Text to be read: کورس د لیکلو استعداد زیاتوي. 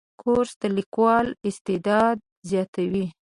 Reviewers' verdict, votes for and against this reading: rejected, 2, 5